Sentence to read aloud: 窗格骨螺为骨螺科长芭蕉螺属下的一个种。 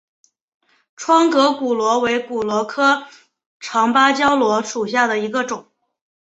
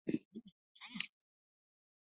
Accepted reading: first